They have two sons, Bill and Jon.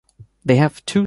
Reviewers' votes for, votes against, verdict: 1, 2, rejected